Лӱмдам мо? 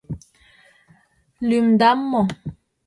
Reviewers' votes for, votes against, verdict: 2, 0, accepted